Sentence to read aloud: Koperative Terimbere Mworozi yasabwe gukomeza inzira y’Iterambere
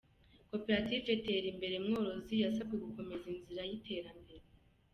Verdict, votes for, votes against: accepted, 2, 0